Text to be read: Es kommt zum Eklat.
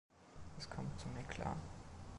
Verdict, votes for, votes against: accepted, 2, 1